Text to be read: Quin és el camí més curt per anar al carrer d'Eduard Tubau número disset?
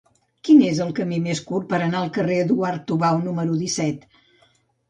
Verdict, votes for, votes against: rejected, 0, 2